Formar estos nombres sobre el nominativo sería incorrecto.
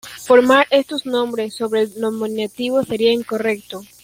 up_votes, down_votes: 0, 2